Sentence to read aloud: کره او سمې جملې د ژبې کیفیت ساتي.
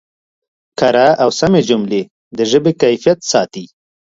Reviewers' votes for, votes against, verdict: 2, 0, accepted